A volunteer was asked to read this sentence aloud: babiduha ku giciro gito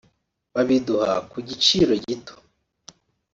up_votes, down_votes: 3, 0